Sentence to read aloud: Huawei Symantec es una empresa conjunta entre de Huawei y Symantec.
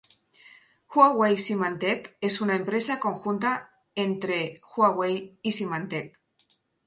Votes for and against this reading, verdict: 0, 2, rejected